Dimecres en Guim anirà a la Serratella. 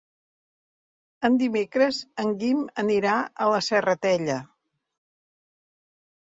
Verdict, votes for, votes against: rejected, 0, 2